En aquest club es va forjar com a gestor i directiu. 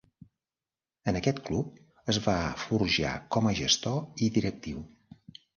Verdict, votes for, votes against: accepted, 2, 0